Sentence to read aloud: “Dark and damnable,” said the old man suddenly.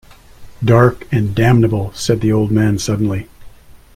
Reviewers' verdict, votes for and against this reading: accepted, 2, 0